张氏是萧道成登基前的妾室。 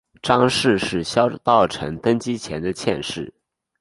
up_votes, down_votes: 7, 2